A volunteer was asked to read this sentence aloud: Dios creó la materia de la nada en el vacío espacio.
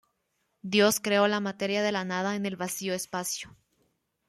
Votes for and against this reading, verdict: 2, 1, accepted